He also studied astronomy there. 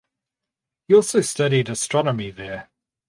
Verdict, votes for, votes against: accepted, 2, 0